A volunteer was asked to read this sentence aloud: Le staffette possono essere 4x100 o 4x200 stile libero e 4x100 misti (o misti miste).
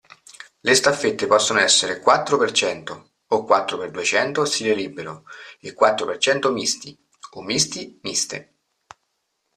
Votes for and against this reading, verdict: 0, 2, rejected